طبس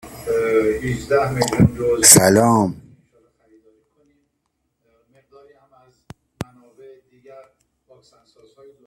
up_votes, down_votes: 0, 2